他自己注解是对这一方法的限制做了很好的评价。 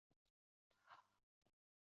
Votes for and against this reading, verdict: 2, 0, accepted